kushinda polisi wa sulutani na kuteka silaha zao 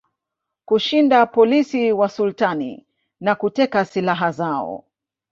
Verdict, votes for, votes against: rejected, 1, 2